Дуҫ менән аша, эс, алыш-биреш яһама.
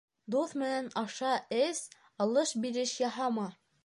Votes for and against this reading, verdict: 2, 0, accepted